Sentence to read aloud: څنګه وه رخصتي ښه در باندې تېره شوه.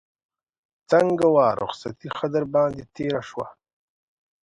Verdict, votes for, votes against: accepted, 2, 0